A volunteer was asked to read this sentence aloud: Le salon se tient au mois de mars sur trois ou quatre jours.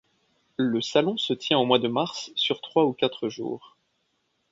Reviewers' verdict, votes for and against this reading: accepted, 2, 0